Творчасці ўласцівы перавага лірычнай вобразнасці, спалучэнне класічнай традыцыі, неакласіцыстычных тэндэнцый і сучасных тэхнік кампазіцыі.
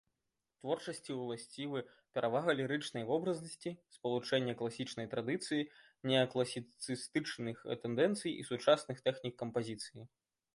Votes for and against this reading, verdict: 1, 2, rejected